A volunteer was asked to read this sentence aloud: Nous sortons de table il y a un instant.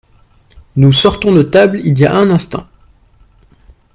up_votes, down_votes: 2, 0